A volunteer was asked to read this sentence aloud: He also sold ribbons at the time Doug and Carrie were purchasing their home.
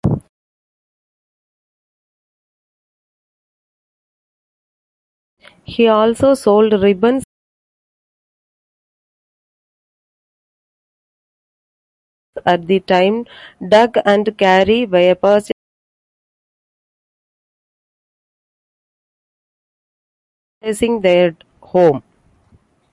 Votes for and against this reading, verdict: 0, 2, rejected